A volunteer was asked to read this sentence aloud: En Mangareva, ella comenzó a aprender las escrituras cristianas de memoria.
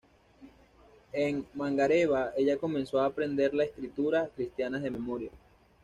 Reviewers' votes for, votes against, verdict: 2, 1, accepted